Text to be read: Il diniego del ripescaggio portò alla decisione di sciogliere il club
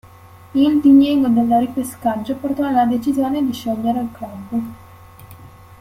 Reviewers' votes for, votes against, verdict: 1, 2, rejected